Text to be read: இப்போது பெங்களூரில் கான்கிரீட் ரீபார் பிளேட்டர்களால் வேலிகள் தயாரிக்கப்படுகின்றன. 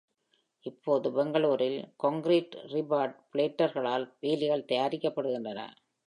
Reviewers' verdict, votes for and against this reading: accepted, 2, 0